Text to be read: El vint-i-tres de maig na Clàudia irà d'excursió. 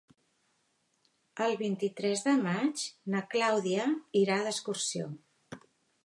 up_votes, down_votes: 3, 0